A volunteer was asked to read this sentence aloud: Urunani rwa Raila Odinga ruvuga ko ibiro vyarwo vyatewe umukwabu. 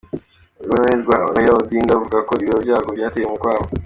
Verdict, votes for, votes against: accepted, 2, 1